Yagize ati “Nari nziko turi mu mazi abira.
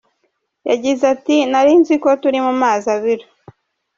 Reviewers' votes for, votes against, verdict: 2, 1, accepted